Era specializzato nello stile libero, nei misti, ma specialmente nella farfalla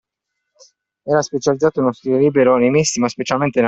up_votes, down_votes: 0, 2